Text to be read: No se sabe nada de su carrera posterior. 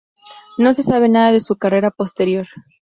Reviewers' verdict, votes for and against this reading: accepted, 4, 0